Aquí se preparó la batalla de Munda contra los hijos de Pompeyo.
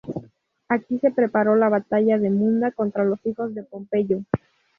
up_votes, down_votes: 4, 0